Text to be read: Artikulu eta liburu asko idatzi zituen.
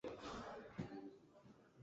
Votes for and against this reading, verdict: 0, 2, rejected